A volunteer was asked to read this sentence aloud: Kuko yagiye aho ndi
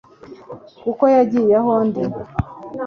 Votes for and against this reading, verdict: 2, 0, accepted